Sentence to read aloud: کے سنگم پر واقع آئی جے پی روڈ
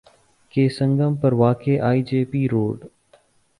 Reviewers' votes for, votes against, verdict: 3, 0, accepted